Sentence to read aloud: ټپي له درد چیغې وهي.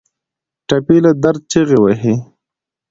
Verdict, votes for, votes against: accepted, 2, 0